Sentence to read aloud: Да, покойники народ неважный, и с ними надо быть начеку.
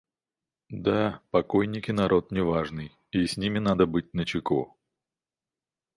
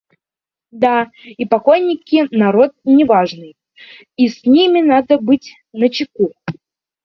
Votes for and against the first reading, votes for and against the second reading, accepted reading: 2, 0, 1, 2, first